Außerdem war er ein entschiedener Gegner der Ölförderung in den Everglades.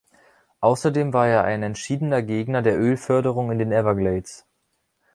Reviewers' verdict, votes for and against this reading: accepted, 3, 0